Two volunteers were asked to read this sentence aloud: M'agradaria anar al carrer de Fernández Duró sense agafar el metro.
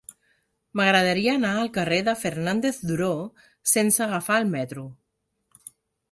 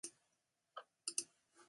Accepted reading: first